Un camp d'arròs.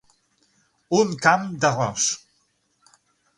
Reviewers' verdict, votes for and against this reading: accepted, 9, 0